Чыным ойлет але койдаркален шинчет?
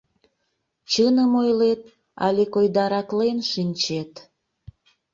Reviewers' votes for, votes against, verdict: 0, 2, rejected